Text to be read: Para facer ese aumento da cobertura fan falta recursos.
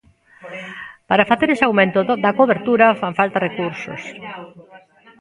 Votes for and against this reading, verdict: 0, 3, rejected